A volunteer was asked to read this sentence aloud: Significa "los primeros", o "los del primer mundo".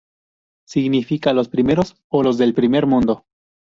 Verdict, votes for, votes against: rejected, 0, 2